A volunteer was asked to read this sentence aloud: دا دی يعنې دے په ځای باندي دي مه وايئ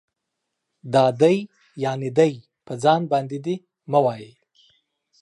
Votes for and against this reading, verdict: 2, 0, accepted